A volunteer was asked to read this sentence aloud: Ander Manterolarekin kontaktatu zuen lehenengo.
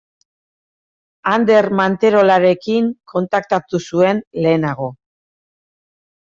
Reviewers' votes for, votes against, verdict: 0, 2, rejected